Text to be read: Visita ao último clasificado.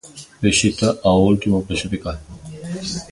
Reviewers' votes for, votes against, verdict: 2, 0, accepted